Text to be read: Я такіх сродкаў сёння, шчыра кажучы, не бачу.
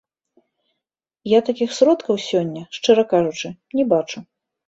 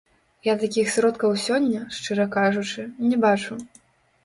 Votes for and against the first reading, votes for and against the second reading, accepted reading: 2, 0, 1, 2, first